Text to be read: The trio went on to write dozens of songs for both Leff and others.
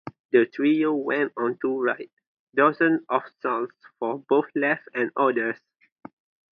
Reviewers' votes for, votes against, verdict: 2, 0, accepted